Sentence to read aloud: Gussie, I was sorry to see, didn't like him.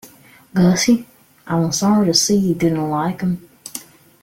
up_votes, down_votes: 0, 2